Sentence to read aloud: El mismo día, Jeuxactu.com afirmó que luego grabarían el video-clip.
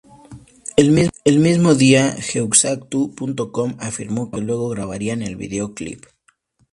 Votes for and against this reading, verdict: 0, 2, rejected